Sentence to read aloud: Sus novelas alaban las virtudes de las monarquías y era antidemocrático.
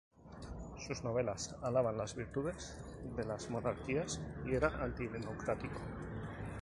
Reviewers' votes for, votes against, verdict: 2, 0, accepted